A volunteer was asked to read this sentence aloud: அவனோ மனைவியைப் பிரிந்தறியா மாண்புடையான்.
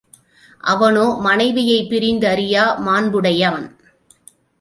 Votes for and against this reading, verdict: 0, 2, rejected